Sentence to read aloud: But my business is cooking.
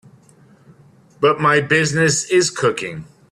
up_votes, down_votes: 2, 0